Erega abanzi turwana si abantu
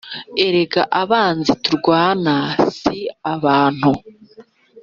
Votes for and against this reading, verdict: 2, 0, accepted